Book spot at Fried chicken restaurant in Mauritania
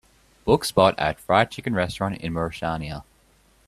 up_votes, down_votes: 2, 0